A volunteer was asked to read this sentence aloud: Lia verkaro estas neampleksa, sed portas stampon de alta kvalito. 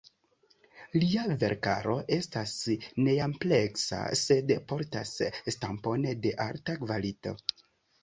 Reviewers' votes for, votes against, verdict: 2, 0, accepted